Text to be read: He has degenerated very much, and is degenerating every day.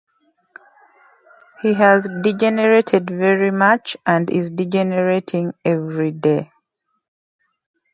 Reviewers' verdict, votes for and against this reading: rejected, 0, 2